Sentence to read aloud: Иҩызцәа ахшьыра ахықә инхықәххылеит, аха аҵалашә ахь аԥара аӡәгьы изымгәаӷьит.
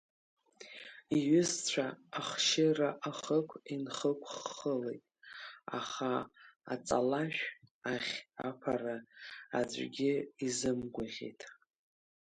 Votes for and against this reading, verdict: 2, 1, accepted